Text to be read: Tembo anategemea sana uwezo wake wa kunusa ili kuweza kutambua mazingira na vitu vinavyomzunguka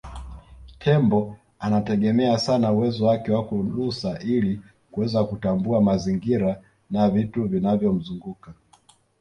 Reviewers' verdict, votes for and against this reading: rejected, 0, 2